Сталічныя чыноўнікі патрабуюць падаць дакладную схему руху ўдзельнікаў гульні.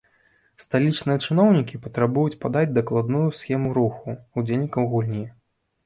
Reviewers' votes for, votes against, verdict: 0, 3, rejected